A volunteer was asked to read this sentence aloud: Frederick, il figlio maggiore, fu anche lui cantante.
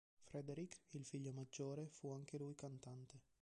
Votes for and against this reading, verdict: 1, 2, rejected